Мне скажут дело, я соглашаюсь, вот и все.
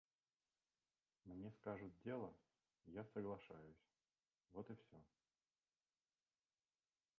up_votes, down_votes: 0, 2